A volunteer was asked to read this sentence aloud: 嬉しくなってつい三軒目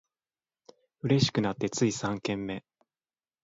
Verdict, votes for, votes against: rejected, 1, 2